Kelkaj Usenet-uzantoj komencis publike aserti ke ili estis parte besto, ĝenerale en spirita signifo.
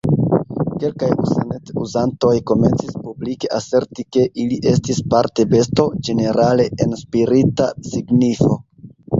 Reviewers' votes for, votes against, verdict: 2, 0, accepted